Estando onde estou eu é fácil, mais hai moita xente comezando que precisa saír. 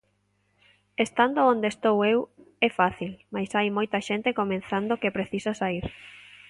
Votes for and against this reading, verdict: 1, 2, rejected